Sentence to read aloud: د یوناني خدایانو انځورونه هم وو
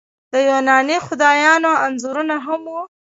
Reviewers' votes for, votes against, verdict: 0, 2, rejected